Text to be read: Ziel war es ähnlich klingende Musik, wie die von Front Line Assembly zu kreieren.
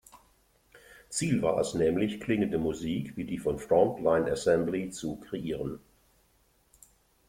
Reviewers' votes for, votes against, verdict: 0, 2, rejected